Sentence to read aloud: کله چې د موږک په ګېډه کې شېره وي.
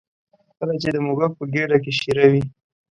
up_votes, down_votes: 0, 2